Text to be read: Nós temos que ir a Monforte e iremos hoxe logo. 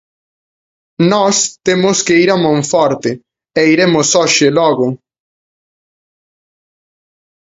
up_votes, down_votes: 2, 0